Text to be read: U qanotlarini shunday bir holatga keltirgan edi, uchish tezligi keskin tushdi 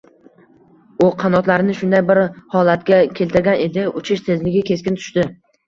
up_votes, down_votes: 2, 0